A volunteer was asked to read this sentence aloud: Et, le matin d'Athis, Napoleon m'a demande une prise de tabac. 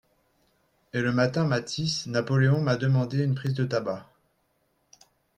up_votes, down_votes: 2, 3